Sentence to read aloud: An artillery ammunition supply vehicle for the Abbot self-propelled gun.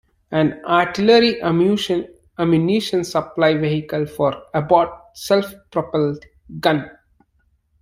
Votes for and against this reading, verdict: 0, 2, rejected